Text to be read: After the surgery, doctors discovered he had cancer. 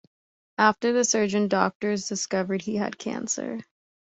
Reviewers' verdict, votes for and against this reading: rejected, 1, 2